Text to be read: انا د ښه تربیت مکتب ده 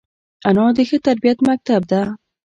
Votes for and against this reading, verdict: 2, 3, rejected